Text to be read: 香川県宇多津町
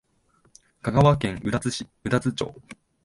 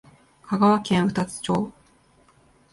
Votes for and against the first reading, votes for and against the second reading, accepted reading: 1, 2, 5, 1, second